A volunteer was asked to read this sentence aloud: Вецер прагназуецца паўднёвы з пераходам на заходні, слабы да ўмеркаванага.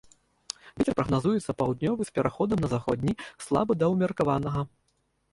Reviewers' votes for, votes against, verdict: 0, 2, rejected